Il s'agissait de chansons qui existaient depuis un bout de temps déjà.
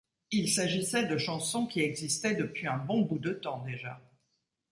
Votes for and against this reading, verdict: 1, 2, rejected